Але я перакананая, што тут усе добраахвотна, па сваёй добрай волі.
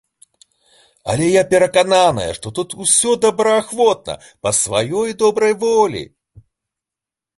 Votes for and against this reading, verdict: 1, 2, rejected